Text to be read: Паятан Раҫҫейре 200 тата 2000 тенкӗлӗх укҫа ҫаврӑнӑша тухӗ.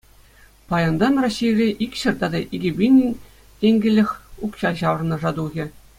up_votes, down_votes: 0, 2